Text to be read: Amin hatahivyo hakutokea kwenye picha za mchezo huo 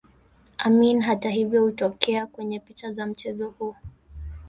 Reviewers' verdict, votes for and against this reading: accepted, 2, 0